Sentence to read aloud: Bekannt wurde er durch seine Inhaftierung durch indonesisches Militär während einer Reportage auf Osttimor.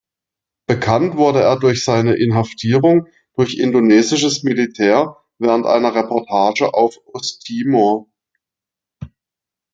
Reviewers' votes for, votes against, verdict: 2, 0, accepted